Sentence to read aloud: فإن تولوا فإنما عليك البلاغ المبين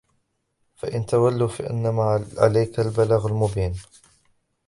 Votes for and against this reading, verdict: 1, 2, rejected